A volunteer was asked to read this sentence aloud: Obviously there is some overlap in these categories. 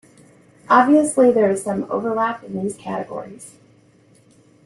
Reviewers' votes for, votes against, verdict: 2, 0, accepted